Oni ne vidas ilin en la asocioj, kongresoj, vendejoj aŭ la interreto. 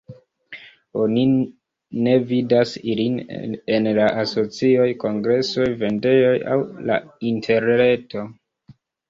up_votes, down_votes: 0, 2